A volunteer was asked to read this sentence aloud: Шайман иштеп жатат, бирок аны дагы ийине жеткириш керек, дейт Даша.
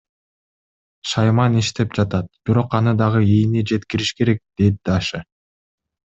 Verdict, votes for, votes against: accepted, 2, 0